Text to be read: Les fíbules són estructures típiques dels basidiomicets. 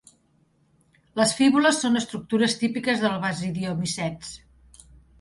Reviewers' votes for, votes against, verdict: 2, 0, accepted